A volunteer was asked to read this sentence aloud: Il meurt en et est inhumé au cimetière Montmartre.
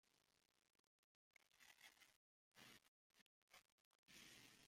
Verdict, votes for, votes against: rejected, 0, 2